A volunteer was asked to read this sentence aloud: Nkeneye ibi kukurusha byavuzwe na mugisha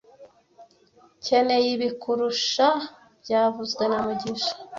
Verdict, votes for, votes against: rejected, 1, 2